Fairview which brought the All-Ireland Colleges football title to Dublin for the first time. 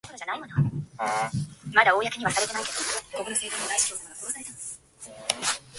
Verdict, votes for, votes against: rejected, 0, 2